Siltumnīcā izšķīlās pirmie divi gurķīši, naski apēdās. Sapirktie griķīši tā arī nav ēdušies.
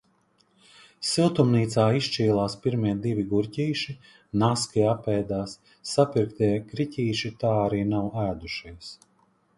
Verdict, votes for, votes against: accepted, 2, 0